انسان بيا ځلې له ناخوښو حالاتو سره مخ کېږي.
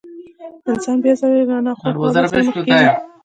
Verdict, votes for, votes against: rejected, 1, 2